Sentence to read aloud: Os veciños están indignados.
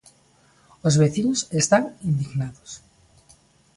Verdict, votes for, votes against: accepted, 2, 0